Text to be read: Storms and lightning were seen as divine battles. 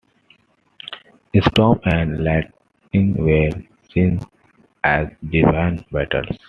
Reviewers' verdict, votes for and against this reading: accepted, 2, 1